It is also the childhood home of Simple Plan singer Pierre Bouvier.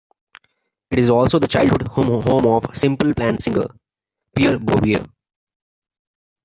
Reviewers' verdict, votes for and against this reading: accepted, 2, 1